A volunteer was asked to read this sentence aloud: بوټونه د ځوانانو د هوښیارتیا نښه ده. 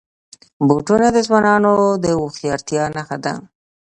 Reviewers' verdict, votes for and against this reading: accepted, 2, 0